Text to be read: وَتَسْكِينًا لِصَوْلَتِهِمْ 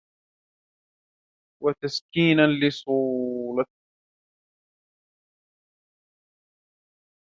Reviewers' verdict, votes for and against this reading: rejected, 0, 2